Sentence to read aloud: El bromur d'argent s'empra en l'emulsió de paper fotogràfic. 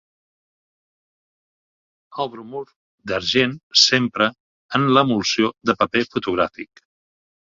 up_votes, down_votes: 4, 0